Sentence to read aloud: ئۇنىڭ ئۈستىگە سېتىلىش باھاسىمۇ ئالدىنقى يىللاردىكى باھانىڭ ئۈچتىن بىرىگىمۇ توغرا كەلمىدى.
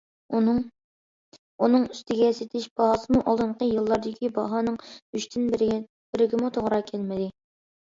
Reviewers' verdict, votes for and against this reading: rejected, 0, 2